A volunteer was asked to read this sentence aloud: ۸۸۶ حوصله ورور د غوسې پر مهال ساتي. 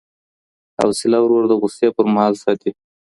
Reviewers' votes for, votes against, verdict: 0, 2, rejected